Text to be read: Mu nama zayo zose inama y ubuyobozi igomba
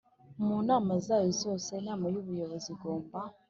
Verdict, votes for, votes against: accepted, 4, 0